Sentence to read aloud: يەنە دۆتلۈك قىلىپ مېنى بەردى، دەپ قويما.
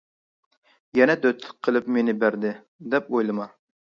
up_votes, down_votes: 0, 2